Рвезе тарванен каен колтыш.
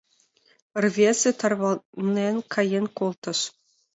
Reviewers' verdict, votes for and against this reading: accepted, 2, 0